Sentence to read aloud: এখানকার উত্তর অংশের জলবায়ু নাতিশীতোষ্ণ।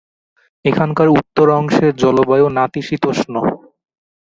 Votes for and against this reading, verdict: 2, 0, accepted